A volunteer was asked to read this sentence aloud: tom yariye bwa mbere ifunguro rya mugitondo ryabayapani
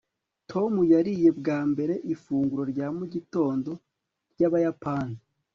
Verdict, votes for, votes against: accepted, 2, 0